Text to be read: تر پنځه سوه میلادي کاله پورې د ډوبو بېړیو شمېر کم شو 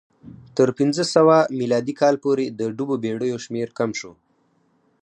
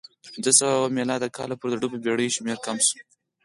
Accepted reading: first